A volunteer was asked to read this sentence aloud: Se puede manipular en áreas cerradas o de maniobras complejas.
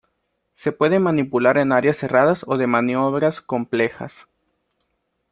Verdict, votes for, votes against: accepted, 2, 0